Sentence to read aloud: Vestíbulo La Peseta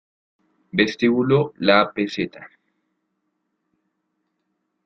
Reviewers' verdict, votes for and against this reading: accepted, 3, 0